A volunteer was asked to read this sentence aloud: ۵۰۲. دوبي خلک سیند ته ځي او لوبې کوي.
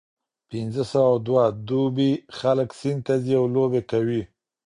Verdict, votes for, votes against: rejected, 0, 2